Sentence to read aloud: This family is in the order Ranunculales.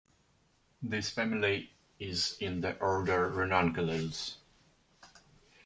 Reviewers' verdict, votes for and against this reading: accepted, 2, 0